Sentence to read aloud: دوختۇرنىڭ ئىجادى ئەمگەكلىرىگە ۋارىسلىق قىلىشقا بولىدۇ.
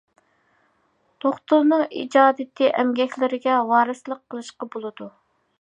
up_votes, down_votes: 0, 2